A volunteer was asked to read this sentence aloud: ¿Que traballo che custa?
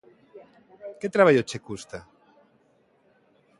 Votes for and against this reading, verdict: 3, 0, accepted